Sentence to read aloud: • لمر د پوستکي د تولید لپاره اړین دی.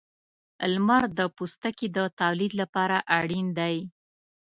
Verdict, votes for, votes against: accepted, 2, 0